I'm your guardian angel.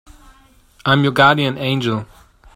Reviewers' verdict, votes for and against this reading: accepted, 2, 0